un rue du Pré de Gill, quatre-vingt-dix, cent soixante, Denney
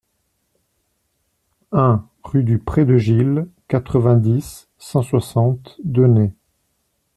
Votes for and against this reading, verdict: 2, 0, accepted